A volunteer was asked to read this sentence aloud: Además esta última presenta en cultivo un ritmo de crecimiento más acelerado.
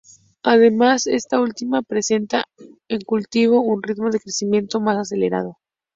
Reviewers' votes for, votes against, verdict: 2, 0, accepted